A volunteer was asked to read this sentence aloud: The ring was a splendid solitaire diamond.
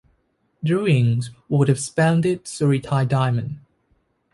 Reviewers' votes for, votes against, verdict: 0, 2, rejected